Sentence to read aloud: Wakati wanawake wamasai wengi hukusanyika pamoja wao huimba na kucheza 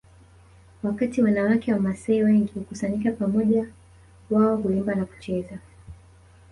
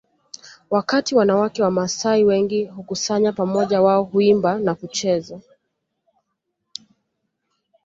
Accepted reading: first